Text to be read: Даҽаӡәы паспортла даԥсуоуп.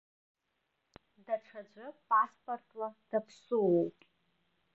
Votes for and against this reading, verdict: 1, 2, rejected